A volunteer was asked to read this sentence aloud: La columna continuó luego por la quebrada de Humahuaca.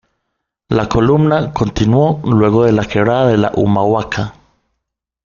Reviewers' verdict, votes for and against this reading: rejected, 0, 2